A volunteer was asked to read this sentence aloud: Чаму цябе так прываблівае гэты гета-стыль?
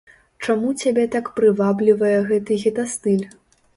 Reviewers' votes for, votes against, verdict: 2, 0, accepted